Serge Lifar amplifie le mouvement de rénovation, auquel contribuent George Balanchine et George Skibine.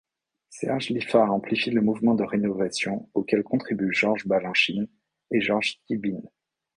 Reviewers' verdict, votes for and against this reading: rejected, 0, 2